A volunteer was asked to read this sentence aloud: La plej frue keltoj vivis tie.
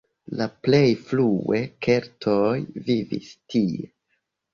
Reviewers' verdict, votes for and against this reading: accepted, 2, 1